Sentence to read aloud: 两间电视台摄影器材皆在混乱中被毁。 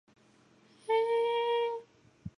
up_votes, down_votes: 1, 6